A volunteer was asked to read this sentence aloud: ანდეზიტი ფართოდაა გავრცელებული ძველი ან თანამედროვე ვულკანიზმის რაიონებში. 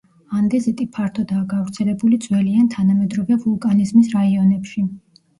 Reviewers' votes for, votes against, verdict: 1, 2, rejected